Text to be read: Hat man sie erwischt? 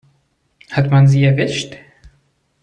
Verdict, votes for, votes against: accepted, 2, 0